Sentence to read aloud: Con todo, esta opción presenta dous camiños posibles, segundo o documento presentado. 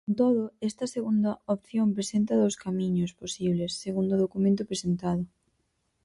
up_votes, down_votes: 0, 4